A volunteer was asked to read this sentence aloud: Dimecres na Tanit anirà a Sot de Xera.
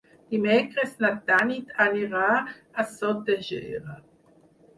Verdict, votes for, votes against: rejected, 2, 4